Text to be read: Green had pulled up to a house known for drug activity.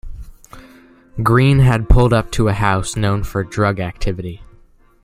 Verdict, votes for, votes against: accepted, 2, 0